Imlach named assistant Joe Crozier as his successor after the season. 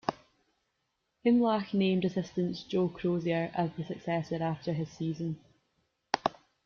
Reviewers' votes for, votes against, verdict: 0, 2, rejected